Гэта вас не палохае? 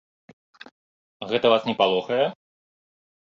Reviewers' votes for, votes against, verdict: 2, 0, accepted